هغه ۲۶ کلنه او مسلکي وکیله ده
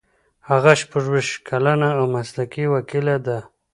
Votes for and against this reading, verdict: 0, 2, rejected